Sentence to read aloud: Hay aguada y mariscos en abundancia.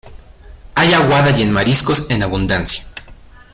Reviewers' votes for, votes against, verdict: 0, 2, rejected